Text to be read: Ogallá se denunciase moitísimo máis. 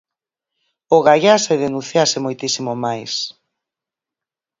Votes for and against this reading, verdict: 4, 0, accepted